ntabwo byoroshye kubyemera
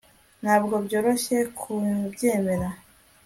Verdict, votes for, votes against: accepted, 2, 0